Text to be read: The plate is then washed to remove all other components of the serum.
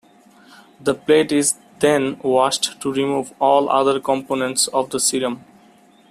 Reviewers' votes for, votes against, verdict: 2, 0, accepted